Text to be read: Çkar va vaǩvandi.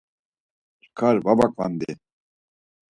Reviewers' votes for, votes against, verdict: 4, 0, accepted